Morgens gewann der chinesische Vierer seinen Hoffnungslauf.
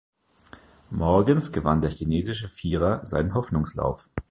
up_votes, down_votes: 1, 2